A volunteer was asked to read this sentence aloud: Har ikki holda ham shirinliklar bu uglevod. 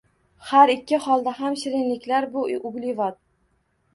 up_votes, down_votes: 2, 0